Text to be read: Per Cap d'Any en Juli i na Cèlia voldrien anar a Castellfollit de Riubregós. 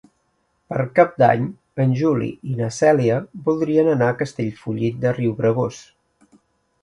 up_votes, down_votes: 3, 0